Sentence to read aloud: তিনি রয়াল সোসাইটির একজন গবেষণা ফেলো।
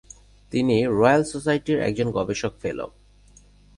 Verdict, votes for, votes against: rejected, 2, 2